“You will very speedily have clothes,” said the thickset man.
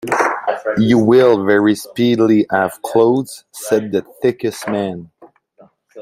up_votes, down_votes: 1, 2